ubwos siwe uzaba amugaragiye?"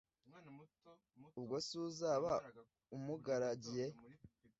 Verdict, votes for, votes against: rejected, 1, 2